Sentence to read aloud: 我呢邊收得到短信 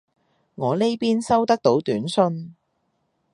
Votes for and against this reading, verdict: 2, 0, accepted